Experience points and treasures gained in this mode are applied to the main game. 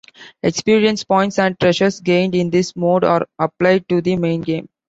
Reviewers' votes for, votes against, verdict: 3, 0, accepted